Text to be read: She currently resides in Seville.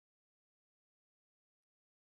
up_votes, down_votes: 0, 2